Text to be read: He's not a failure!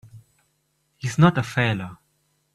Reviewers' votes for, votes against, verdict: 1, 2, rejected